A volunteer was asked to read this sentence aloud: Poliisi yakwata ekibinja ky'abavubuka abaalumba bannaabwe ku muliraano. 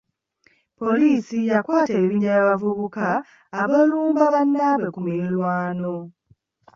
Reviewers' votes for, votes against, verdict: 1, 2, rejected